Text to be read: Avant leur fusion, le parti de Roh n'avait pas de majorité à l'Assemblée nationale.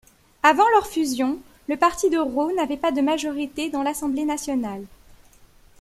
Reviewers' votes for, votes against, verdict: 1, 2, rejected